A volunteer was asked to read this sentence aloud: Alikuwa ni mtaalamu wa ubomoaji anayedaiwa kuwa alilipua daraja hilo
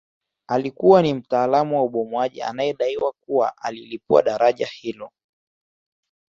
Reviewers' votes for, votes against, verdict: 2, 0, accepted